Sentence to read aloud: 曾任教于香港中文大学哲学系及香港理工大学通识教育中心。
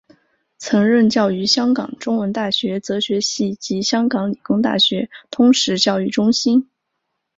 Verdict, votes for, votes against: accepted, 4, 0